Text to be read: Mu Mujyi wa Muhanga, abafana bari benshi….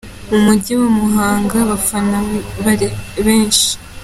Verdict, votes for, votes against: accepted, 2, 0